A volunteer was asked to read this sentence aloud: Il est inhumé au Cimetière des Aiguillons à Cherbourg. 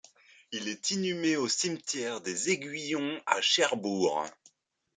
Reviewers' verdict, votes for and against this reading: accepted, 3, 0